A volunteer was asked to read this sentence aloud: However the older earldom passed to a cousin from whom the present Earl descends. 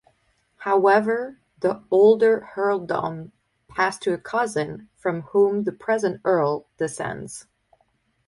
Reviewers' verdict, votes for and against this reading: rejected, 2, 2